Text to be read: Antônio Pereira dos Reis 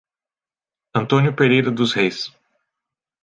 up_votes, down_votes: 2, 0